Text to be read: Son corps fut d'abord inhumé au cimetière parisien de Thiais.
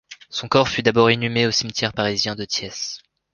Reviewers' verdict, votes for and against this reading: accepted, 3, 1